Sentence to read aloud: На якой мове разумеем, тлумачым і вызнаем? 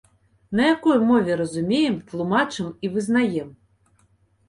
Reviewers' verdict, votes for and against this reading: accepted, 2, 0